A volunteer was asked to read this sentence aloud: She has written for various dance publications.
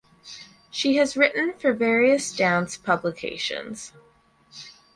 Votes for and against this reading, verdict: 4, 0, accepted